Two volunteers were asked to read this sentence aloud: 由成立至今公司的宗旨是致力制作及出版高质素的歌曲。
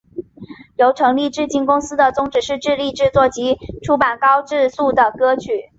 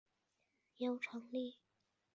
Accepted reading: first